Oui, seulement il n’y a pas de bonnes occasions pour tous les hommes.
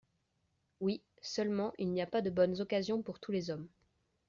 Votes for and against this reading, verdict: 2, 0, accepted